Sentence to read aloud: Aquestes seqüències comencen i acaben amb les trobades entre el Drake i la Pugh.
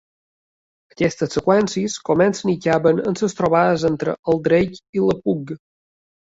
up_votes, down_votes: 0, 3